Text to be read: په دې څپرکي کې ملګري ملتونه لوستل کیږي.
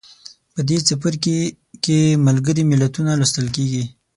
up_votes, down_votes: 3, 6